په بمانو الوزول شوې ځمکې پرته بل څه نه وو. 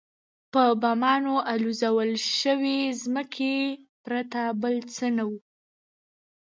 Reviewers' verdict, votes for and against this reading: accepted, 2, 0